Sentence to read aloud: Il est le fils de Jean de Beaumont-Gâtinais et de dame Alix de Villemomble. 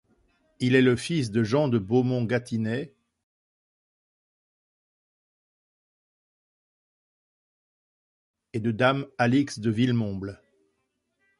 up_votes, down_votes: 2, 1